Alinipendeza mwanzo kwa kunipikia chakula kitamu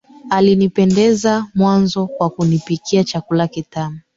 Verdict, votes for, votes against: accepted, 2, 1